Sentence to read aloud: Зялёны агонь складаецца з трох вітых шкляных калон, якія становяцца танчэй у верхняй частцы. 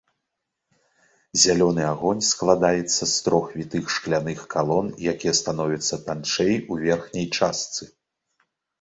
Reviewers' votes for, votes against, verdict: 2, 0, accepted